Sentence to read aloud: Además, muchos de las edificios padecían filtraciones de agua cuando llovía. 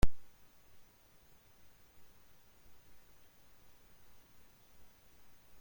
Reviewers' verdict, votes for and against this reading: rejected, 0, 2